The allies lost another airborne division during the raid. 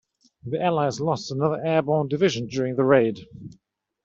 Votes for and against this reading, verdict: 2, 0, accepted